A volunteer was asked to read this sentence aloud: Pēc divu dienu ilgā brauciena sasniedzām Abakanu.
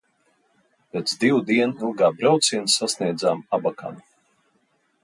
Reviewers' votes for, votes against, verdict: 2, 0, accepted